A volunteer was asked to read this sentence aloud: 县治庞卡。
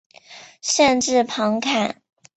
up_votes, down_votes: 1, 2